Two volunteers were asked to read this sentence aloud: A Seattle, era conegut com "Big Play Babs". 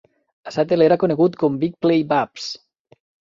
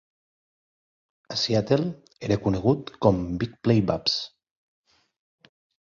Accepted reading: second